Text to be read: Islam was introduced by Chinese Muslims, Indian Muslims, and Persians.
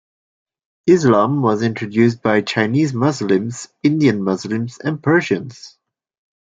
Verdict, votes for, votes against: accepted, 2, 0